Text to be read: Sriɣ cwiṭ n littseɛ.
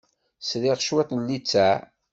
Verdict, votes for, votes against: accepted, 2, 0